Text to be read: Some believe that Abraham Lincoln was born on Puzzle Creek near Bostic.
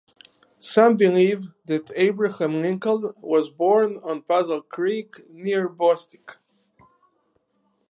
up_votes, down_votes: 4, 0